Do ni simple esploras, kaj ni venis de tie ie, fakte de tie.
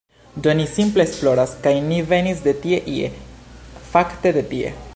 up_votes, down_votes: 2, 0